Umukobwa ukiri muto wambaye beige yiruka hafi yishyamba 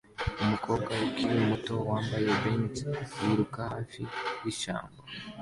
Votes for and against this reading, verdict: 2, 0, accepted